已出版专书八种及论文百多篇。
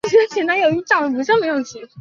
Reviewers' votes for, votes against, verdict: 1, 3, rejected